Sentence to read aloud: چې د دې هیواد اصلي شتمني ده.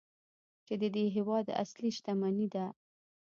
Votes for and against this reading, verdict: 1, 2, rejected